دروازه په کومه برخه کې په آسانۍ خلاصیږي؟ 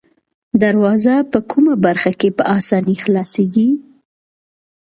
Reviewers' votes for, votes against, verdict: 0, 2, rejected